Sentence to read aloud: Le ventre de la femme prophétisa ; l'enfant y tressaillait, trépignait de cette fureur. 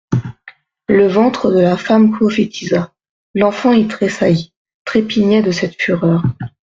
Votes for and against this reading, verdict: 0, 2, rejected